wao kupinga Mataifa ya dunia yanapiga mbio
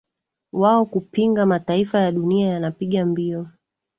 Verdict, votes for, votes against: rejected, 0, 2